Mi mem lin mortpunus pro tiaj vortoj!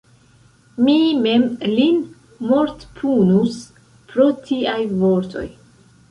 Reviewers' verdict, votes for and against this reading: accepted, 2, 0